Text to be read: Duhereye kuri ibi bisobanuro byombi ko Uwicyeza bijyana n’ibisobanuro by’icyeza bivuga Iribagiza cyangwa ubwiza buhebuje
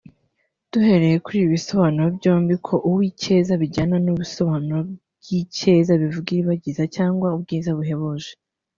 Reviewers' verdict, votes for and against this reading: accepted, 2, 0